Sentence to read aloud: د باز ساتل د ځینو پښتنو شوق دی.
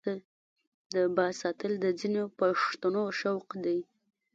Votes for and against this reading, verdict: 1, 2, rejected